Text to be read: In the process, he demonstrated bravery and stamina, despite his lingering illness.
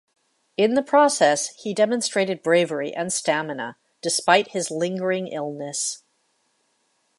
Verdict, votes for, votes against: accepted, 2, 0